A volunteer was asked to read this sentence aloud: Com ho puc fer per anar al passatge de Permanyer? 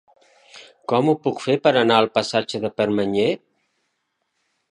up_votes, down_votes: 3, 0